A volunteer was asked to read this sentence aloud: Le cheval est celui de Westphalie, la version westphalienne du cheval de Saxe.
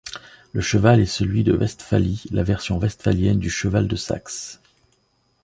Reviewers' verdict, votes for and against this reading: accepted, 2, 0